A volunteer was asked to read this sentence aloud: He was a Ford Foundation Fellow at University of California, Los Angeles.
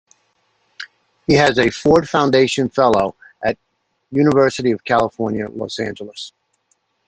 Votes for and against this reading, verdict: 0, 2, rejected